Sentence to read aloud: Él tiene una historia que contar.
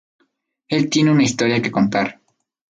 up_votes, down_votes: 2, 0